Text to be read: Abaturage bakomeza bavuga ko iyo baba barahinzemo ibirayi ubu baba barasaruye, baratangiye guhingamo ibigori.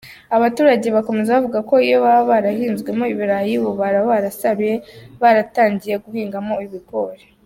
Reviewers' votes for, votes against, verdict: 2, 1, accepted